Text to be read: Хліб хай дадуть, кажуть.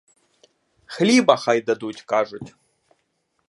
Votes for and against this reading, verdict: 1, 2, rejected